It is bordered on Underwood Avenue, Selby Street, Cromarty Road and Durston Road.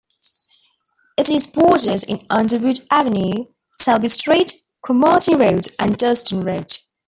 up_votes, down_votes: 1, 2